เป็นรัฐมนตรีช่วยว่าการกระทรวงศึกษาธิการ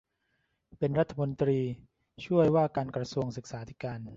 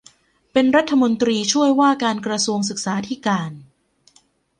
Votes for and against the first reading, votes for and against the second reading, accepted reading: 0, 2, 2, 1, second